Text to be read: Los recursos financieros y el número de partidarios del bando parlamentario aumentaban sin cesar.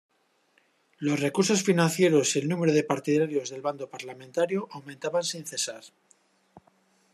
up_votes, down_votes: 2, 0